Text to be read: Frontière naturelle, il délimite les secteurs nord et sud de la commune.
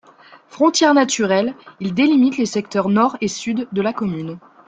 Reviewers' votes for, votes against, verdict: 2, 0, accepted